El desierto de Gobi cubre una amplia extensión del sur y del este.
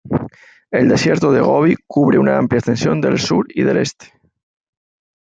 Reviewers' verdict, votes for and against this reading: rejected, 1, 2